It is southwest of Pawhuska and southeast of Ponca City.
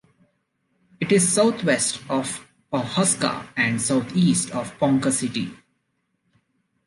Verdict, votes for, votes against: accepted, 2, 0